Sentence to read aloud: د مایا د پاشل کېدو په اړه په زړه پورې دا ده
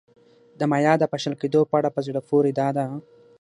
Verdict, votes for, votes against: rejected, 0, 6